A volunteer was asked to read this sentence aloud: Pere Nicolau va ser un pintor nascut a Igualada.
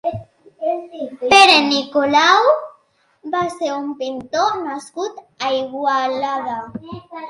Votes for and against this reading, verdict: 2, 0, accepted